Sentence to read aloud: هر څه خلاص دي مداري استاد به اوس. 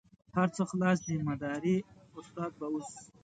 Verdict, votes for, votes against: accepted, 2, 0